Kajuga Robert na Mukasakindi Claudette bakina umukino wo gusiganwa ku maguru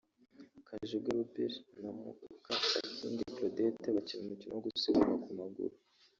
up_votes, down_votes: 0, 2